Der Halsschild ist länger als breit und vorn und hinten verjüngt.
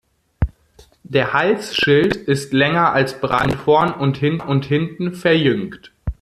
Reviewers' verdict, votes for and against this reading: rejected, 1, 2